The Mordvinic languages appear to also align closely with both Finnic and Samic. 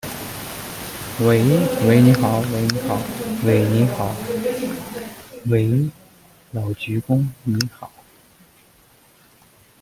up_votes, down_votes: 0, 2